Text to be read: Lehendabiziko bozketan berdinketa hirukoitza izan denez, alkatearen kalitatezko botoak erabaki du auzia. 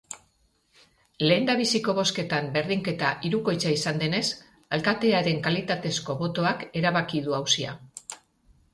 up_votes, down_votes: 2, 0